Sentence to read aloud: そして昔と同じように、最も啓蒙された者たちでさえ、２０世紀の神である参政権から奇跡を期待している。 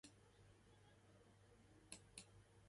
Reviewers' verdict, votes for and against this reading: rejected, 0, 2